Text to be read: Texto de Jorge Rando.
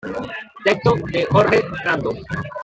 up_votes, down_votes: 0, 2